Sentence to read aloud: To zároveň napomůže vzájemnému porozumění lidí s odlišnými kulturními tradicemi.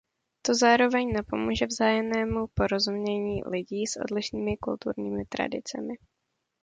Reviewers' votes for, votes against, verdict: 2, 0, accepted